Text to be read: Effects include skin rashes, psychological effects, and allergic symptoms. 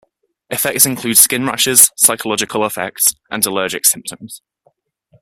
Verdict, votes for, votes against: accepted, 2, 0